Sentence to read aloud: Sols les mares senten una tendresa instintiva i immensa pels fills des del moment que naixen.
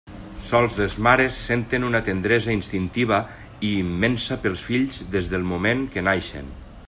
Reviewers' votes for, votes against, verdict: 2, 0, accepted